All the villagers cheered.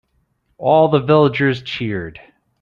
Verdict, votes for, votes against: accepted, 2, 0